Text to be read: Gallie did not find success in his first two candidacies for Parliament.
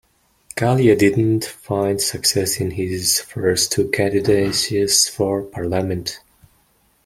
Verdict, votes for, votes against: rejected, 1, 2